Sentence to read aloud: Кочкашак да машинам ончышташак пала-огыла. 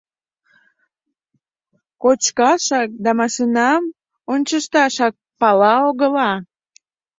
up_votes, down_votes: 2, 0